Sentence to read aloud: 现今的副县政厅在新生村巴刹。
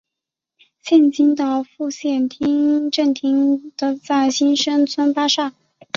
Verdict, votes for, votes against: rejected, 0, 2